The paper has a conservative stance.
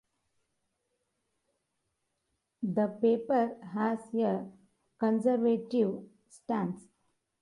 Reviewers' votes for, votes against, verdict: 0, 2, rejected